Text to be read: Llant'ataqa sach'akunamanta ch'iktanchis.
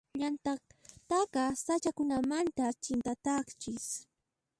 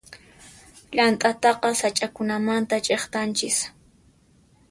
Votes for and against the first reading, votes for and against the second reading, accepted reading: 1, 2, 2, 0, second